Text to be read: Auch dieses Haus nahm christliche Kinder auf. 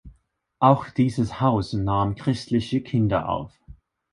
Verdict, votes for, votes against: accepted, 2, 0